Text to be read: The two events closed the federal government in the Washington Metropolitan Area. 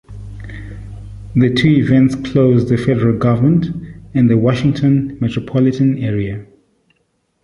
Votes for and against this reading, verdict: 3, 2, accepted